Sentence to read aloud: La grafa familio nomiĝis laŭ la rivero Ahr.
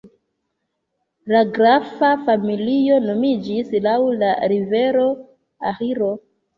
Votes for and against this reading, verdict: 0, 2, rejected